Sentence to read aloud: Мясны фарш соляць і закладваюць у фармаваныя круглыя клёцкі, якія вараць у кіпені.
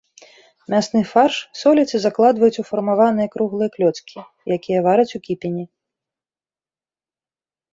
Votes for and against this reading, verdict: 3, 0, accepted